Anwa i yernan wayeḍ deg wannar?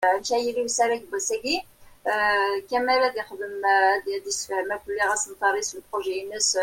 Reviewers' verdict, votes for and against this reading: rejected, 0, 2